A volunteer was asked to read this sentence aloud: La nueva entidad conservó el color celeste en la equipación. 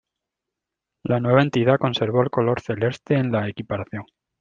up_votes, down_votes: 1, 2